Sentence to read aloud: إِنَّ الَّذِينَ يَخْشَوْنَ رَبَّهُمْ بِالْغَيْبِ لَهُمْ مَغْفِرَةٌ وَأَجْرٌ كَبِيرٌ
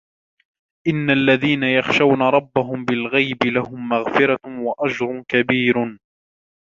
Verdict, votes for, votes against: accepted, 2, 0